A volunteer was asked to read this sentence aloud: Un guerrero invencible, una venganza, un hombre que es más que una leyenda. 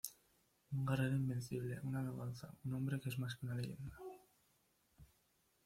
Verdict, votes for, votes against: rejected, 1, 2